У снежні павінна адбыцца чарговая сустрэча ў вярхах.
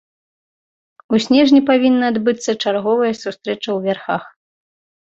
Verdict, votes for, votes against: accepted, 2, 0